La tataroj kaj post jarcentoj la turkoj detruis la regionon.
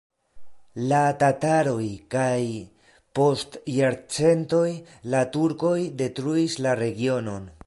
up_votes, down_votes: 2, 0